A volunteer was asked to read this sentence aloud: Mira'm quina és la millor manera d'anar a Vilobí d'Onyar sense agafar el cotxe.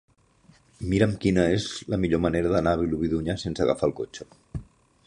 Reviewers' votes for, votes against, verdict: 2, 0, accepted